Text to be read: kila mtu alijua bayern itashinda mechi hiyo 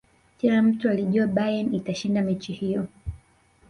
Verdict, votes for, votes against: rejected, 0, 2